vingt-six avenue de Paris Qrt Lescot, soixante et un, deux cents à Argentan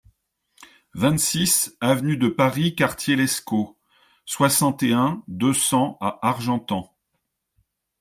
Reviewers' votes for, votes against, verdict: 2, 0, accepted